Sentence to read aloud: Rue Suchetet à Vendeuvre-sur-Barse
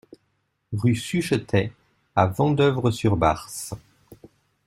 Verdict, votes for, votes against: accepted, 2, 0